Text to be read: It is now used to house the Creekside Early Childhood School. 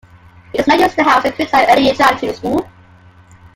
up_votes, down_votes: 1, 2